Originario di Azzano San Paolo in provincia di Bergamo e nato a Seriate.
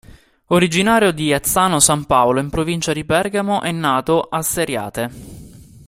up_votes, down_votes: 2, 0